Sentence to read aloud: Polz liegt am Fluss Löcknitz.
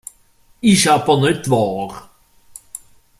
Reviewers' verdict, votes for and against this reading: rejected, 0, 2